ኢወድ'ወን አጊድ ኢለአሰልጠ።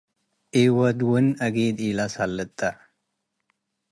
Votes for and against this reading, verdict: 3, 0, accepted